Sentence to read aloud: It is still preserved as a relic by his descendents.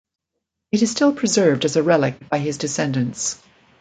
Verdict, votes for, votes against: accepted, 2, 0